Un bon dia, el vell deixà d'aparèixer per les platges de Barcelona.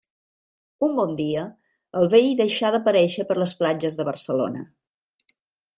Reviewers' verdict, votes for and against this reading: accepted, 3, 0